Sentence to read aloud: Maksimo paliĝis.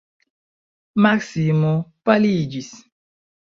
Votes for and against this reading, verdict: 1, 2, rejected